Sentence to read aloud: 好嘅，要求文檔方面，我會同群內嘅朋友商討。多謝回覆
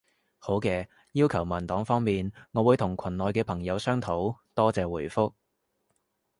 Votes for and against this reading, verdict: 2, 0, accepted